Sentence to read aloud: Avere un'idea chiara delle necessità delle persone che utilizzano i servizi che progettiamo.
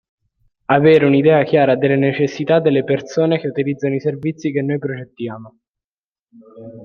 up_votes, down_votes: 0, 2